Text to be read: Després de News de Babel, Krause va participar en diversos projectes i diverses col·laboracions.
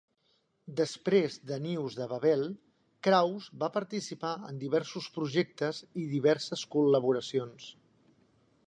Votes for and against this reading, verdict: 2, 0, accepted